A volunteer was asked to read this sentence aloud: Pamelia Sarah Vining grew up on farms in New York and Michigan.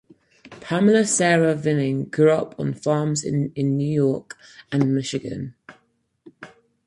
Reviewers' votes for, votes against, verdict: 4, 0, accepted